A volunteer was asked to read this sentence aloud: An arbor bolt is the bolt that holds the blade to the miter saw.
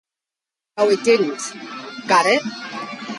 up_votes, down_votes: 0, 2